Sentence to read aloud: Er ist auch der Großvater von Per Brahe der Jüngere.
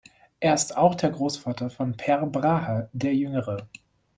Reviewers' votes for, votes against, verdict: 2, 0, accepted